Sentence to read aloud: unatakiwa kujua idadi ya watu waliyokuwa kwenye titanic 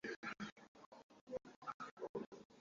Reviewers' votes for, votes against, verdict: 0, 2, rejected